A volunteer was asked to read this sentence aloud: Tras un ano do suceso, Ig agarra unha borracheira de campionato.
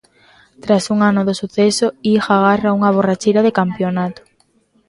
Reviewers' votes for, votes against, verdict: 2, 1, accepted